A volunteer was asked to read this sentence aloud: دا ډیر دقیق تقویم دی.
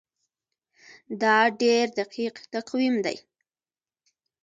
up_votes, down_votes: 2, 1